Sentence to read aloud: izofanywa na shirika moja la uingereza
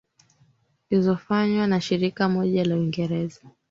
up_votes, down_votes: 3, 0